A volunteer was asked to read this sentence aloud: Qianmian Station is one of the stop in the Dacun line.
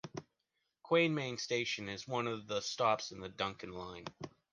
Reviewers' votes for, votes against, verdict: 1, 2, rejected